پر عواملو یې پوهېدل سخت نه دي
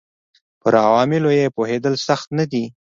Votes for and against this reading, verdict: 2, 0, accepted